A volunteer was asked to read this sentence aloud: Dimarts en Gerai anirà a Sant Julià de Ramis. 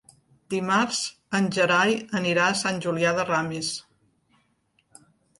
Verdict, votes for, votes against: accepted, 3, 0